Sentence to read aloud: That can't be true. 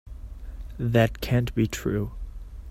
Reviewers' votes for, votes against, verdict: 4, 0, accepted